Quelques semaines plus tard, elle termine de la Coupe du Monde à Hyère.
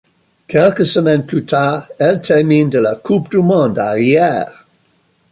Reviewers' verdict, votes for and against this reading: accepted, 2, 0